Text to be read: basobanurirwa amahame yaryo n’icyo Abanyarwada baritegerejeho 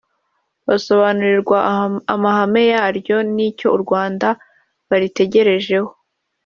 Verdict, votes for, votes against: rejected, 0, 2